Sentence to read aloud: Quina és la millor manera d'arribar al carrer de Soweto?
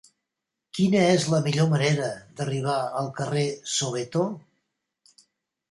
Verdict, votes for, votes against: rejected, 3, 4